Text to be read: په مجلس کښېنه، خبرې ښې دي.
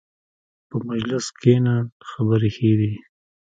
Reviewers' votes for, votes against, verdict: 0, 2, rejected